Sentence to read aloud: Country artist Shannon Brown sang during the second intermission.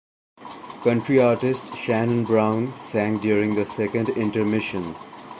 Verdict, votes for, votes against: accepted, 2, 0